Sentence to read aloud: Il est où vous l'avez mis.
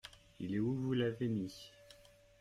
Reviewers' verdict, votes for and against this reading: accepted, 2, 0